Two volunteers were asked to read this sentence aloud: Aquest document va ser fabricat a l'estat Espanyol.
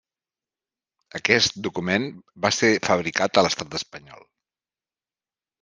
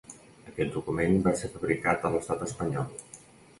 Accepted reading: first